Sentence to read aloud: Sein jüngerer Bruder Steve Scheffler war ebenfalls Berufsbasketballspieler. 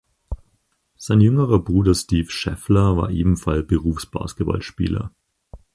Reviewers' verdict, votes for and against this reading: rejected, 2, 4